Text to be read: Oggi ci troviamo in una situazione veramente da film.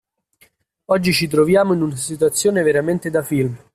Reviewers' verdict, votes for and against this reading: rejected, 0, 2